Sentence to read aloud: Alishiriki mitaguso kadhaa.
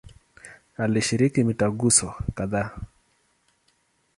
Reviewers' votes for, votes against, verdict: 2, 0, accepted